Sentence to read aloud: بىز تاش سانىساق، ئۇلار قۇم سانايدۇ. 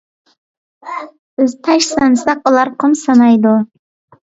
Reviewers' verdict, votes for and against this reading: accepted, 2, 0